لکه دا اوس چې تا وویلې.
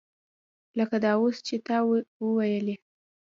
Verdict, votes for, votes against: rejected, 1, 2